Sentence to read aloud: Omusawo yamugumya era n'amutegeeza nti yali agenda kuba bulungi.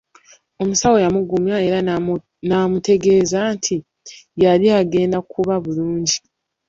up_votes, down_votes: 0, 2